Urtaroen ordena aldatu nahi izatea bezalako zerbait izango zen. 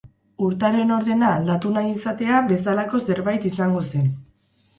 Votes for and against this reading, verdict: 0, 2, rejected